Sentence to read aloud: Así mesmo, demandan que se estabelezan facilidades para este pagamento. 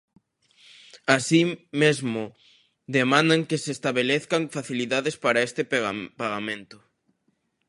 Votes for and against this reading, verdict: 0, 2, rejected